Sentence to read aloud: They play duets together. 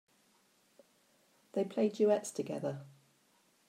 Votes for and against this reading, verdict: 3, 0, accepted